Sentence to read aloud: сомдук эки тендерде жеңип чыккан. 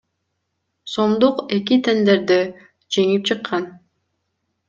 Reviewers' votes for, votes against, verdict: 2, 0, accepted